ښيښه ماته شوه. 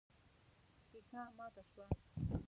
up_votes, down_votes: 1, 2